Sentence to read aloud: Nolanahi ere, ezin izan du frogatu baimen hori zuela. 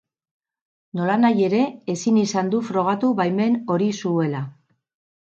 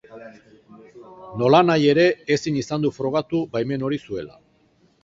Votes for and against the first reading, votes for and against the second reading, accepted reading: 4, 0, 0, 2, first